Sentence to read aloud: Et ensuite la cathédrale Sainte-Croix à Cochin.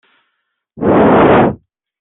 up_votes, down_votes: 0, 2